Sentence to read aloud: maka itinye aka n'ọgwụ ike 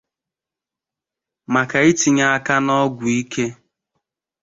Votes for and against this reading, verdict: 2, 0, accepted